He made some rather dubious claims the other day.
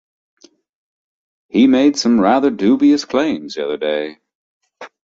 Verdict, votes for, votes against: accepted, 3, 0